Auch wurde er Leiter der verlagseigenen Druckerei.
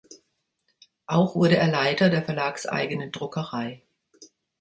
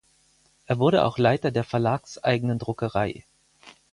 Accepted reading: first